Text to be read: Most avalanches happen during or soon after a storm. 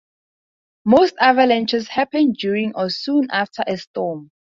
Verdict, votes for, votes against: accepted, 2, 0